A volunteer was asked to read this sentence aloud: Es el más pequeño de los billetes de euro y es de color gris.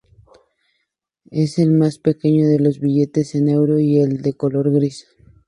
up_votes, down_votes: 0, 2